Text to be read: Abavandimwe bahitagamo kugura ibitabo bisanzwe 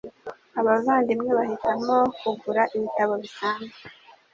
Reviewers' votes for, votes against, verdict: 2, 0, accepted